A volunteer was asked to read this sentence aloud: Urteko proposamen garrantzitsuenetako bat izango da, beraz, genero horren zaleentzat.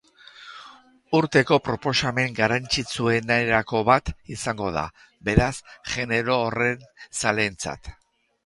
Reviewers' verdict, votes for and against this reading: rejected, 0, 2